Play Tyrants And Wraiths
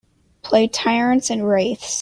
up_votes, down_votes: 2, 0